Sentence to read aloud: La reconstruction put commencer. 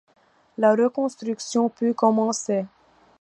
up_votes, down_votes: 2, 0